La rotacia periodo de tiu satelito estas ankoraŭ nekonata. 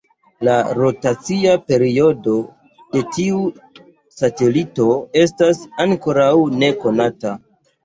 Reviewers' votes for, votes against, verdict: 2, 0, accepted